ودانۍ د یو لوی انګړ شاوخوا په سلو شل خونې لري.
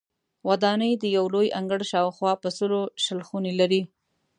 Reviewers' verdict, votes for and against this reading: accepted, 2, 0